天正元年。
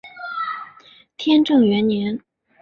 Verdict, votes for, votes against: accepted, 5, 0